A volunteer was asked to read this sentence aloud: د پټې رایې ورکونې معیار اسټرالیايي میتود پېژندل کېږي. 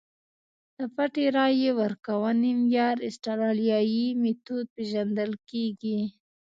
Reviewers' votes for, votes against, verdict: 2, 0, accepted